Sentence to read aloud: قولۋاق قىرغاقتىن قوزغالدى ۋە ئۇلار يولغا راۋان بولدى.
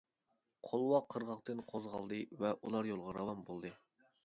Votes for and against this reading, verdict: 2, 0, accepted